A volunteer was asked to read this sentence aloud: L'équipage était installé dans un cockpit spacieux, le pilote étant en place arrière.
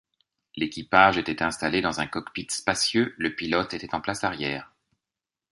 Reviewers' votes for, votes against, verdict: 1, 2, rejected